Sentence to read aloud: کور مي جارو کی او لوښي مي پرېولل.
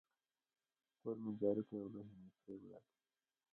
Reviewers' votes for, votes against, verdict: 1, 2, rejected